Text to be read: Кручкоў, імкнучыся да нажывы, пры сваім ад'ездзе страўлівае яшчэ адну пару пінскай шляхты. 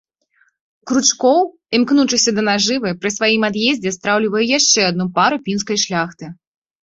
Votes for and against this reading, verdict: 2, 0, accepted